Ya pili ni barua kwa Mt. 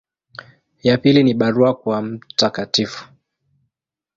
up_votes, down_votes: 1, 2